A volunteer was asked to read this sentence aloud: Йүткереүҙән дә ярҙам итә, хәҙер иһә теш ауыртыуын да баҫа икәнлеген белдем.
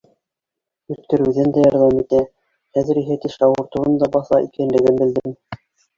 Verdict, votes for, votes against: rejected, 0, 3